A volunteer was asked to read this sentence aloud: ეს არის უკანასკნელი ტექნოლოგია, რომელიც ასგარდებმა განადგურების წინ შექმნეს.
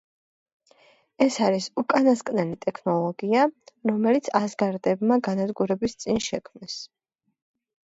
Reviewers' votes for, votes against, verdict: 2, 0, accepted